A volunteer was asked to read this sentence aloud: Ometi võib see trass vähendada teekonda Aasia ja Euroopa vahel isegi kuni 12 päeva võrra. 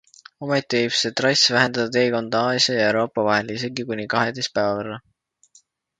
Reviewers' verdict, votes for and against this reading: rejected, 0, 2